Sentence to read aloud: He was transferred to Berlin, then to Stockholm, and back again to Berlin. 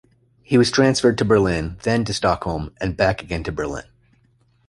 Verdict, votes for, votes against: rejected, 1, 2